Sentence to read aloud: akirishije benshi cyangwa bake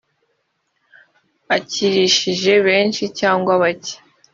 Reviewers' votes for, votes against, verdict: 2, 0, accepted